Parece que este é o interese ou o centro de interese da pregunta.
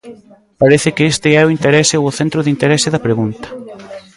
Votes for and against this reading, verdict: 2, 0, accepted